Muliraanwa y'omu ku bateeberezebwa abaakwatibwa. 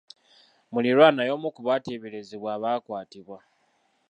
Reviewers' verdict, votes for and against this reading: accepted, 2, 0